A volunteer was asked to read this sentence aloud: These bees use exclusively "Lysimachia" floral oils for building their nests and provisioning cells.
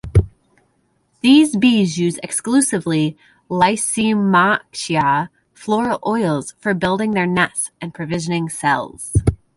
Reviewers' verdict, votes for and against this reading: rejected, 0, 2